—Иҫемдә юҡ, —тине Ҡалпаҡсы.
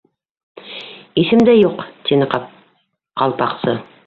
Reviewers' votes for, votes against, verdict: 0, 2, rejected